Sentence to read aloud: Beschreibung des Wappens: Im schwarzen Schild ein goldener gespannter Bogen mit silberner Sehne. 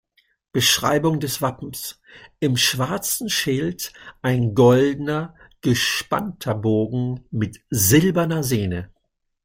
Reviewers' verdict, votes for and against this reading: accepted, 2, 0